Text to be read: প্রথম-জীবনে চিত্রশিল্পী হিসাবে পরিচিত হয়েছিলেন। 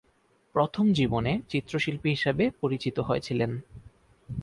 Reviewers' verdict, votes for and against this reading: accepted, 6, 2